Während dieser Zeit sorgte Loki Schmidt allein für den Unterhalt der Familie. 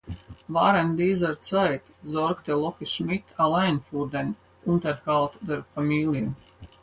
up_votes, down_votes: 0, 4